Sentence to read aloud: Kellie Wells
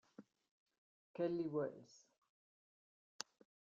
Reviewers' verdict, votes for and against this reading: rejected, 1, 2